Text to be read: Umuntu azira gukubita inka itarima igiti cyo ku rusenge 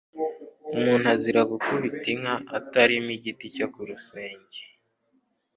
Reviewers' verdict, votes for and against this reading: accepted, 2, 0